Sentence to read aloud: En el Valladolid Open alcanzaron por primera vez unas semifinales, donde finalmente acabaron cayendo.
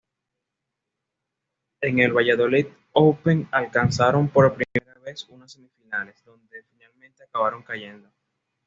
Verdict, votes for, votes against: accepted, 2, 0